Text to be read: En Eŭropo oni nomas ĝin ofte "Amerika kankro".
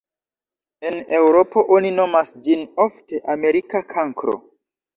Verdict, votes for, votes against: accepted, 2, 0